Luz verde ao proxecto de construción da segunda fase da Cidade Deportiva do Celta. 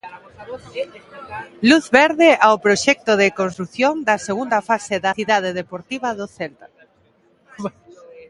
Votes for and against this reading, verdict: 1, 2, rejected